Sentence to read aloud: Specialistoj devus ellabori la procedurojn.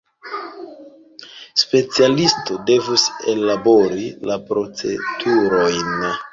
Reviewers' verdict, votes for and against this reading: rejected, 0, 3